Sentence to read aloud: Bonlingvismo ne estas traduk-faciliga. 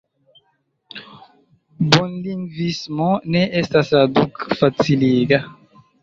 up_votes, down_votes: 2, 1